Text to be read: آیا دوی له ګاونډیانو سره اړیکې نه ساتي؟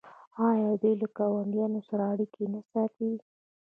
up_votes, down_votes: 2, 0